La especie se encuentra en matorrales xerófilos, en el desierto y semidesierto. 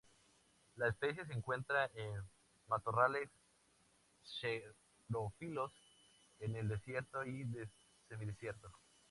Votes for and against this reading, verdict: 0, 2, rejected